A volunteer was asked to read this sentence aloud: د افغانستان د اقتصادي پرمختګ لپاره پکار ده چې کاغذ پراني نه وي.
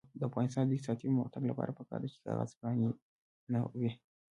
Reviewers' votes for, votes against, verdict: 2, 1, accepted